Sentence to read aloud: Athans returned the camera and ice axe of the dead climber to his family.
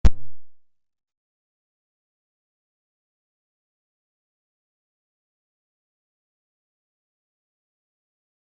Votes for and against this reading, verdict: 0, 2, rejected